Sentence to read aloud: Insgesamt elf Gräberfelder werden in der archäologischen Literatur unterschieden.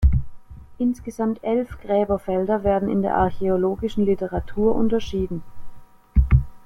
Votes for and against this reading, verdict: 0, 2, rejected